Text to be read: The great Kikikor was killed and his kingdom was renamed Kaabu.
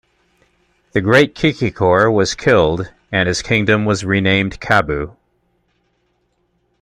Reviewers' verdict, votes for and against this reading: accepted, 2, 0